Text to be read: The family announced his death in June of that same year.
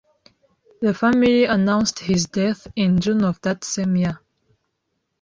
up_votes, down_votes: 2, 0